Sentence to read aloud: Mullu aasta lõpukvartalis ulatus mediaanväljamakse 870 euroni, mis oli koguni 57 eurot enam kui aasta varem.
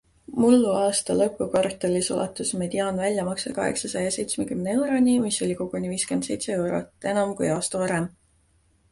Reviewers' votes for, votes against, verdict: 0, 2, rejected